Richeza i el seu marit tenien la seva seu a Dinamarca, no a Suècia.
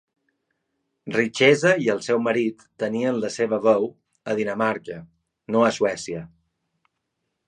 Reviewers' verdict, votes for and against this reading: rejected, 1, 2